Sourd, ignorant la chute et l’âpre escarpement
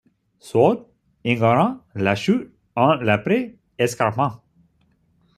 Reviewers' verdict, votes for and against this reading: rejected, 0, 2